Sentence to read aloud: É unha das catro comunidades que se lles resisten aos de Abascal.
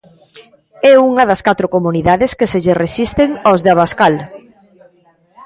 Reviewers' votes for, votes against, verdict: 1, 2, rejected